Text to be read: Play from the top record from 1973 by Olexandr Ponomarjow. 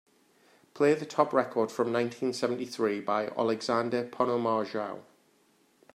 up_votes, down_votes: 0, 2